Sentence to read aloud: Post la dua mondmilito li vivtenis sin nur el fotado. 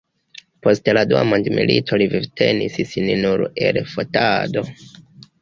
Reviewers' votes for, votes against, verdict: 1, 2, rejected